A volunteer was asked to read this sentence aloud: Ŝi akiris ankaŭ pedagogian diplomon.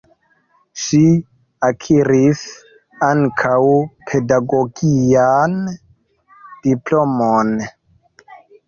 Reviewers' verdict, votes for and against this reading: rejected, 2, 3